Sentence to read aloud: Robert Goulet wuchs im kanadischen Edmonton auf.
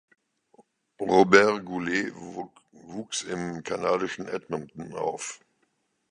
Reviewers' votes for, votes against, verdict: 0, 2, rejected